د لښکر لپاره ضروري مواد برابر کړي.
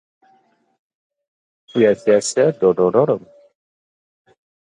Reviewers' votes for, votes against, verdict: 1, 2, rejected